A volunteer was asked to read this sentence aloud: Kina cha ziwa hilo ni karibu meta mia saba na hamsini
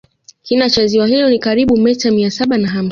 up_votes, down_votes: 0, 2